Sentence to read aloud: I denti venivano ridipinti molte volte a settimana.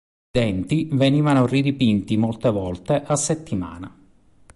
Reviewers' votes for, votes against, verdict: 1, 2, rejected